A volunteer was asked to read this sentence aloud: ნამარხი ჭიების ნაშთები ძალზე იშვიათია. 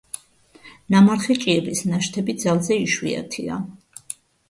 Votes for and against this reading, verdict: 2, 0, accepted